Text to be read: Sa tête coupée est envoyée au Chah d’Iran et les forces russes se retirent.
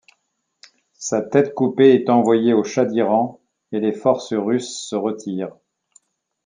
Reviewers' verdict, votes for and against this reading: accepted, 2, 0